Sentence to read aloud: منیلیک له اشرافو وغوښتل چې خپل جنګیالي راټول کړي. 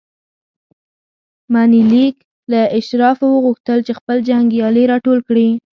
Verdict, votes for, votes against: accepted, 2, 0